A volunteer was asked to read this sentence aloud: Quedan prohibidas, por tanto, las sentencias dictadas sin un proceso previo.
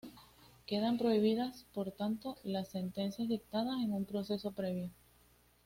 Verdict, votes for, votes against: accepted, 2, 1